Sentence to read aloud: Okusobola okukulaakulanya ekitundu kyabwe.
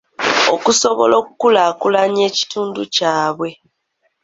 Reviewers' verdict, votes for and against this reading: accepted, 2, 0